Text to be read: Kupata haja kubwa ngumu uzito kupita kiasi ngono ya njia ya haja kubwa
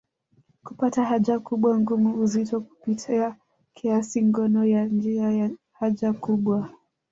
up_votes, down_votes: 1, 2